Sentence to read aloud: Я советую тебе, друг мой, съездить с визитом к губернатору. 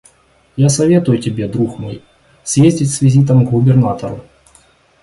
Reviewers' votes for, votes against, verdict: 2, 0, accepted